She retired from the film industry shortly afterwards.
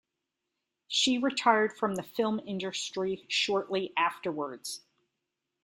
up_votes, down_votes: 2, 0